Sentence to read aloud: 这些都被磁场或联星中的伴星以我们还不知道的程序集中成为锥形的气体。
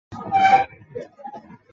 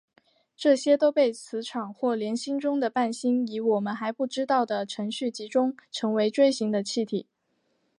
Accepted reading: second